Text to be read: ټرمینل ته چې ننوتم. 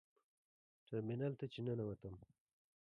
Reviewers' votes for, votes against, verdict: 3, 1, accepted